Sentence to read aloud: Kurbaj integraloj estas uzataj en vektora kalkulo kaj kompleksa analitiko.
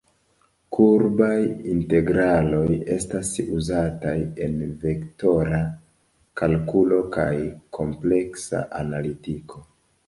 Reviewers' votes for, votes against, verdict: 2, 0, accepted